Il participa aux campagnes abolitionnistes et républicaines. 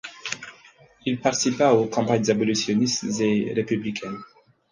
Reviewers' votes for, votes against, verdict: 4, 2, accepted